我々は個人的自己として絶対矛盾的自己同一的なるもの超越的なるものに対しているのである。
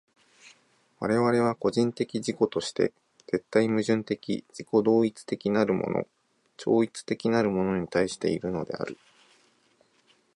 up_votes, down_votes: 2, 0